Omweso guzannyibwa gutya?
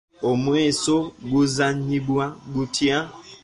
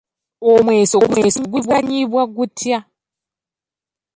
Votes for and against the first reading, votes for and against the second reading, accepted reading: 2, 0, 1, 2, first